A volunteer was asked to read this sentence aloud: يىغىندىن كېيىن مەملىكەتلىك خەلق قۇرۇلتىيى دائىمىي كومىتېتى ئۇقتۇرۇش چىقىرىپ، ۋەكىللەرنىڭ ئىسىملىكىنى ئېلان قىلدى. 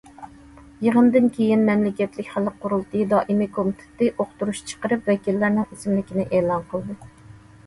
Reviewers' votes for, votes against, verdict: 2, 0, accepted